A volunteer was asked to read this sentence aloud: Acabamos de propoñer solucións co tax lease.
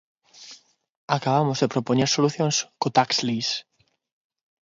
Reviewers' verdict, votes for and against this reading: accepted, 6, 0